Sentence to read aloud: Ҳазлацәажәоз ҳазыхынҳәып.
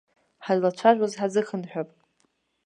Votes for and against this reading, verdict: 2, 0, accepted